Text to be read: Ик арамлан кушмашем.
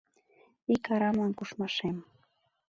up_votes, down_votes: 2, 0